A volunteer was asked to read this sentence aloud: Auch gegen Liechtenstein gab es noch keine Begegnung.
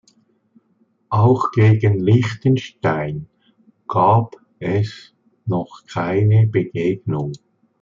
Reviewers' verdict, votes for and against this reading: accepted, 2, 0